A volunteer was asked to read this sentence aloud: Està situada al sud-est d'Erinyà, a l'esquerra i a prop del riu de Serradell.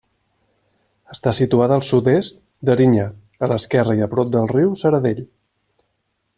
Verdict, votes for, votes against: rejected, 0, 2